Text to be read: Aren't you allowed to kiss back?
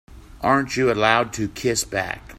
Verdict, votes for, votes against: accepted, 2, 0